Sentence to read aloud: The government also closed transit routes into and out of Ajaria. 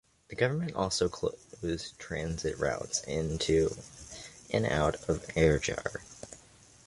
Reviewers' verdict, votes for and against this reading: rejected, 0, 2